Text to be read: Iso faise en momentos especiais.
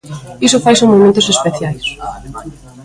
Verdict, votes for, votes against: accepted, 2, 0